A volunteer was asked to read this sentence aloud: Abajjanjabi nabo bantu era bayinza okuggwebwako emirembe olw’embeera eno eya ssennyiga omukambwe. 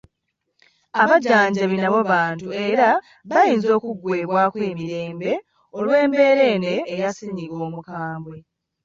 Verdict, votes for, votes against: accepted, 2, 0